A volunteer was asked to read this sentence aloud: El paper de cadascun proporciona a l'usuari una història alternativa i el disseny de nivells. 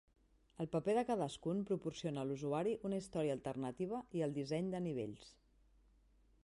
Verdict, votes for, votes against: accepted, 2, 0